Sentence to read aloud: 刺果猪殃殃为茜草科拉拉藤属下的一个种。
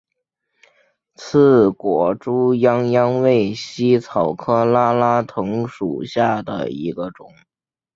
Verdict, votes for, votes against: accepted, 2, 0